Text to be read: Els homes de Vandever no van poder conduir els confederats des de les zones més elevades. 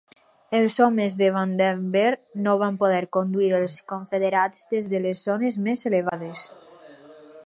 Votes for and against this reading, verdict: 2, 4, rejected